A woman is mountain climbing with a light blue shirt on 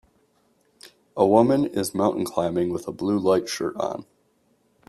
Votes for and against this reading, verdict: 1, 5, rejected